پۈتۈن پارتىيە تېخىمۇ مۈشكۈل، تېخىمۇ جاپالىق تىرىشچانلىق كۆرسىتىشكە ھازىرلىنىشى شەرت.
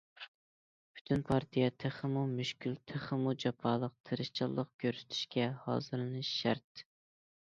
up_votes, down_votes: 2, 0